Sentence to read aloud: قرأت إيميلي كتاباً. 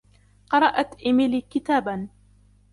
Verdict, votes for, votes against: accepted, 2, 0